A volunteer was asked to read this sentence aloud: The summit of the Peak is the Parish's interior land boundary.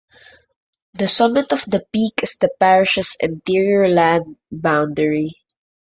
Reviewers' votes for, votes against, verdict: 1, 2, rejected